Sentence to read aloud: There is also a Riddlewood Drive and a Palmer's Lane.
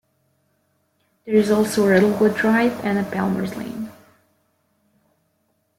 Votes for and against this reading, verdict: 1, 2, rejected